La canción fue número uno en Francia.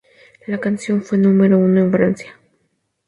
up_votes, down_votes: 2, 0